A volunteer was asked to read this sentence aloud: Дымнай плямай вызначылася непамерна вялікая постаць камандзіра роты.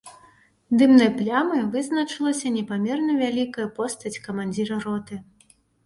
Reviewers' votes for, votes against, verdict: 2, 0, accepted